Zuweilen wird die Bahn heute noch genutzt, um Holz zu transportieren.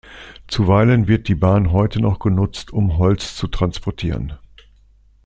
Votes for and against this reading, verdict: 2, 0, accepted